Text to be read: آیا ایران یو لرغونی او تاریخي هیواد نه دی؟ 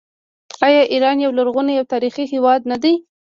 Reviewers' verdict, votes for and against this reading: rejected, 0, 3